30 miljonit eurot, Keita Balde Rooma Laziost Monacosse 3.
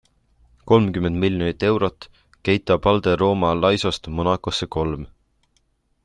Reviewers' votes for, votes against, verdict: 0, 2, rejected